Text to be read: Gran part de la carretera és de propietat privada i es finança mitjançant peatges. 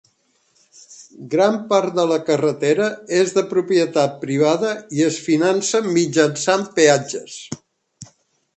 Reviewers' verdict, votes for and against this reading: accepted, 3, 0